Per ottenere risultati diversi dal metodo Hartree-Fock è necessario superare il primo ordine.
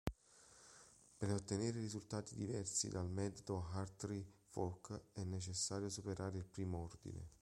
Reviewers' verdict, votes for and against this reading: accepted, 3, 0